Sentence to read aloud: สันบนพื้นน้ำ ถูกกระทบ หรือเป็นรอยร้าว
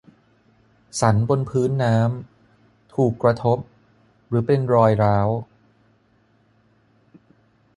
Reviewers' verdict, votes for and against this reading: accepted, 6, 0